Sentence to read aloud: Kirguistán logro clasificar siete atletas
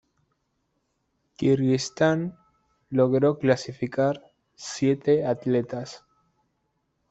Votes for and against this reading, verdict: 2, 1, accepted